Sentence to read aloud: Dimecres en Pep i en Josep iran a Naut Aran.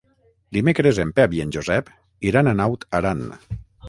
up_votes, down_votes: 3, 3